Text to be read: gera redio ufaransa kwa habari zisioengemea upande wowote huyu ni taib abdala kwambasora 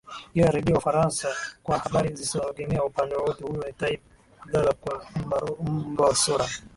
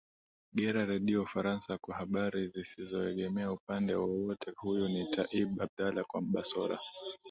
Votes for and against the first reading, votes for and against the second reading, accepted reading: 1, 2, 2, 0, second